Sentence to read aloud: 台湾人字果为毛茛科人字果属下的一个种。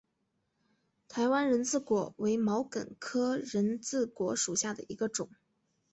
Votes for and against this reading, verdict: 4, 1, accepted